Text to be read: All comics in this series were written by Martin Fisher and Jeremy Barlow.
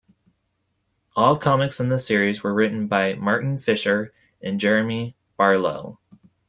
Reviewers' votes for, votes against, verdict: 2, 0, accepted